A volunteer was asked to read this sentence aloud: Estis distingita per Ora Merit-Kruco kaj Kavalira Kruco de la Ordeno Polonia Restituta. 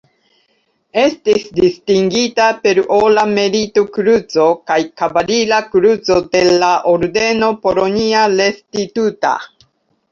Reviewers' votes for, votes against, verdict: 2, 1, accepted